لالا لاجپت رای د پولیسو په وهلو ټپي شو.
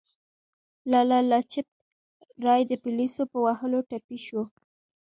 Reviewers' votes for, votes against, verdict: 2, 0, accepted